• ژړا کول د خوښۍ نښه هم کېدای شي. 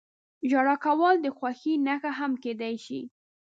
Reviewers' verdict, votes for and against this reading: rejected, 1, 2